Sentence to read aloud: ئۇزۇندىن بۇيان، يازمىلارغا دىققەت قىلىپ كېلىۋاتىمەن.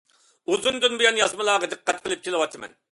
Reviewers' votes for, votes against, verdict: 2, 0, accepted